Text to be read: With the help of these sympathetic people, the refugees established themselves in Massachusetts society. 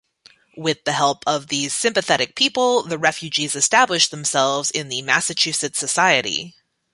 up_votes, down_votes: 2, 0